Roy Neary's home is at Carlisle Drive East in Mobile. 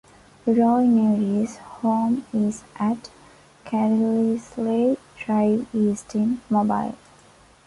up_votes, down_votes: 2, 0